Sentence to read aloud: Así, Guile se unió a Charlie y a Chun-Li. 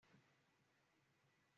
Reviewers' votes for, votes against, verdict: 1, 2, rejected